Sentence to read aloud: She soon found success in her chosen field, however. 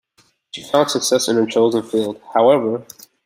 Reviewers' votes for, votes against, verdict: 0, 2, rejected